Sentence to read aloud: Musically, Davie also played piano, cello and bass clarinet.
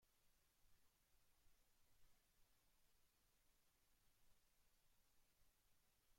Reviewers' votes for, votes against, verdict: 0, 2, rejected